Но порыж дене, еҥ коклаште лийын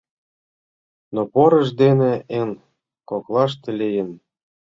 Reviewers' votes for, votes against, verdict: 0, 2, rejected